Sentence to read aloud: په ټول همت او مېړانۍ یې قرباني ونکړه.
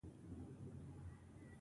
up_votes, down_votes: 1, 2